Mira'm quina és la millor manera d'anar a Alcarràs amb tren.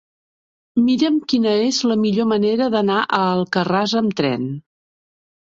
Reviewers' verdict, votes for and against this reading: accepted, 3, 0